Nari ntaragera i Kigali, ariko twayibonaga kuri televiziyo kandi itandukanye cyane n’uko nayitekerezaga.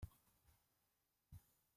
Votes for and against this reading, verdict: 0, 2, rejected